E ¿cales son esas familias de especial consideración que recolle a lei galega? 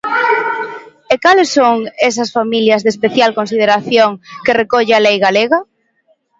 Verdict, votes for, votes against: accepted, 2, 0